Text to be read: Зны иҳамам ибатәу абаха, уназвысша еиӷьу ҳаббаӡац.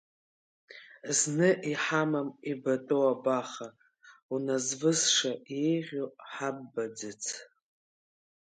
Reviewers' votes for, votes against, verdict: 2, 0, accepted